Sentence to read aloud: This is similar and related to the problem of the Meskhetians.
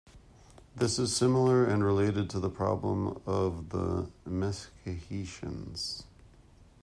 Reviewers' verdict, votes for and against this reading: accepted, 2, 1